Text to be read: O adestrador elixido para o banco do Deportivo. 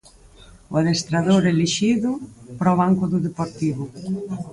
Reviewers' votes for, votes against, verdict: 4, 2, accepted